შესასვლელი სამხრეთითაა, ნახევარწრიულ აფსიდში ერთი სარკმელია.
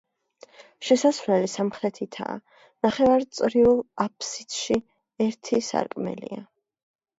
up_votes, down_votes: 1, 2